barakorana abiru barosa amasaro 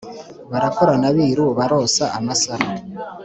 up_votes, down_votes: 2, 0